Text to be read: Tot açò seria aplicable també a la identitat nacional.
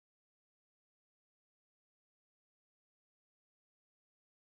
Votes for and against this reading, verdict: 0, 2, rejected